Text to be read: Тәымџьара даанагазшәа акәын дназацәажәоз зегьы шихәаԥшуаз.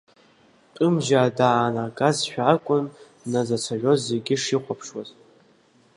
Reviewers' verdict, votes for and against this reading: rejected, 0, 2